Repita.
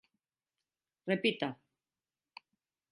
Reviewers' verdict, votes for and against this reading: accepted, 2, 0